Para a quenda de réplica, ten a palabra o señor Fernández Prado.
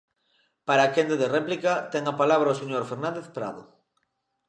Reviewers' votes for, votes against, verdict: 2, 0, accepted